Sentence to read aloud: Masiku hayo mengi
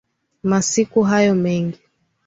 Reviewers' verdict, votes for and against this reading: accepted, 2, 0